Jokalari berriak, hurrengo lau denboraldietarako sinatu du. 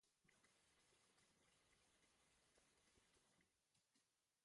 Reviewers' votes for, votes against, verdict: 0, 2, rejected